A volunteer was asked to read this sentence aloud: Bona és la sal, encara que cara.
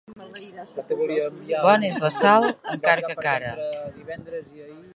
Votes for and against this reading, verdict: 2, 0, accepted